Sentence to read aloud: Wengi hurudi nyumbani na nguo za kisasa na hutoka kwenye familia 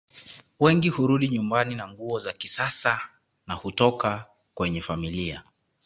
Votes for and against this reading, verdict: 2, 0, accepted